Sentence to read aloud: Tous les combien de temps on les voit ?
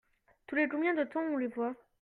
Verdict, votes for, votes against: rejected, 1, 2